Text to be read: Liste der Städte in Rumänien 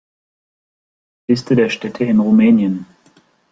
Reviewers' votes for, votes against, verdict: 2, 0, accepted